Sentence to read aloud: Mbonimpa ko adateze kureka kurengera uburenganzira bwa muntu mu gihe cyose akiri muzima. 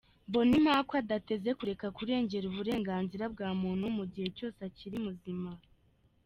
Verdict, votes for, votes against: accepted, 2, 0